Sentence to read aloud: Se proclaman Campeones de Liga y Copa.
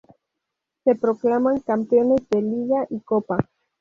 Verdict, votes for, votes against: rejected, 0, 2